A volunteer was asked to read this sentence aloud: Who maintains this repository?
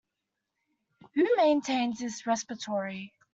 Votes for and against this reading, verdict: 0, 2, rejected